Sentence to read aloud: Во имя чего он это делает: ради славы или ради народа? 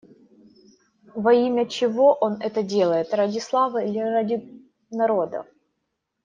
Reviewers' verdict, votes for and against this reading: accepted, 2, 0